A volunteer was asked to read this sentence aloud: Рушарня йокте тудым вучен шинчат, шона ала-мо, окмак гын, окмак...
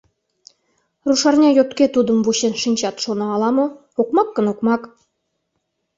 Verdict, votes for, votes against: rejected, 0, 2